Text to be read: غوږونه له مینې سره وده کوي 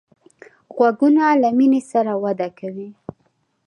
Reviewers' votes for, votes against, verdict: 0, 2, rejected